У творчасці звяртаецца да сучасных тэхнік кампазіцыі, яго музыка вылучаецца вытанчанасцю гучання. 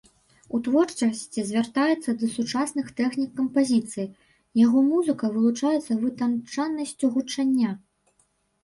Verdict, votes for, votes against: rejected, 0, 2